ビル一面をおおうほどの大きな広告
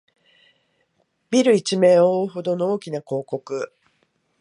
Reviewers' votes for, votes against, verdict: 16, 2, accepted